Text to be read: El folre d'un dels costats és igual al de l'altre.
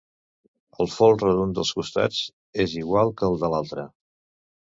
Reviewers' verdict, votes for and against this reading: rejected, 1, 2